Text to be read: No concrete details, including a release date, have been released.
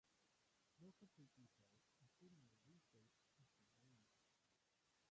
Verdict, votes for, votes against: rejected, 0, 2